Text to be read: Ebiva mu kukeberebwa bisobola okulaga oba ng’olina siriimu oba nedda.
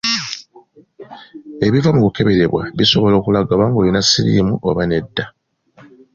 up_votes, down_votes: 2, 0